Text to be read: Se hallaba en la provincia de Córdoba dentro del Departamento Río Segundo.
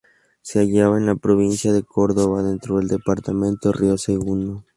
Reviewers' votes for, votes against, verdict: 2, 0, accepted